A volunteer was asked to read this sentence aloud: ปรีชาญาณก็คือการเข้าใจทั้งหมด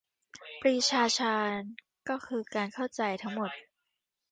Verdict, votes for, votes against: rejected, 0, 2